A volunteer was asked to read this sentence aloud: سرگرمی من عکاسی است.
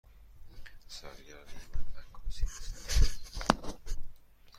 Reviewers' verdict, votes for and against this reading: rejected, 1, 2